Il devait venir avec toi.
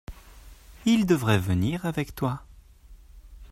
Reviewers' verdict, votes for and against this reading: rejected, 0, 2